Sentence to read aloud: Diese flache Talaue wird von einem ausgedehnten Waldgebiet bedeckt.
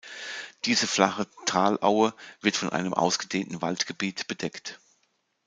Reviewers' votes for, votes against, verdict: 2, 0, accepted